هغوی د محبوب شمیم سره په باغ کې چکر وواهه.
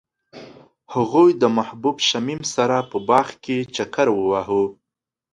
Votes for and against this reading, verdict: 2, 0, accepted